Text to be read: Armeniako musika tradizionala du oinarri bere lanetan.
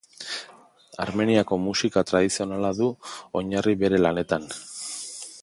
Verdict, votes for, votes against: rejected, 1, 2